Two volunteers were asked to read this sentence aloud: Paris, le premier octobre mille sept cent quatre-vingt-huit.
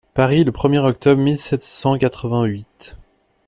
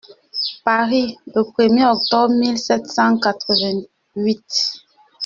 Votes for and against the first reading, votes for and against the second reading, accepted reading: 2, 0, 0, 2, first